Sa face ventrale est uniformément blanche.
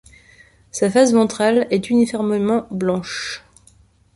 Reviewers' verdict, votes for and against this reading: accepted, 2, 0